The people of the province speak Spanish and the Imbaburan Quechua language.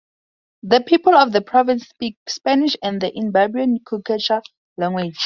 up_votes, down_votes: 2, 0